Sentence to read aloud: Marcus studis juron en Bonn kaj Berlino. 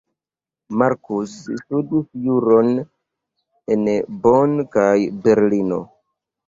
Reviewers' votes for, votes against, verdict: 2, 0, accepted